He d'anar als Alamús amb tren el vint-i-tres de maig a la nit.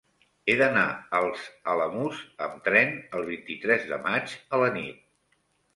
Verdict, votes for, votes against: accepted, 3, 0